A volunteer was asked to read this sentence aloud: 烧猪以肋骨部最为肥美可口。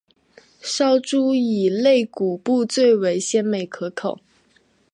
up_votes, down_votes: 0, 2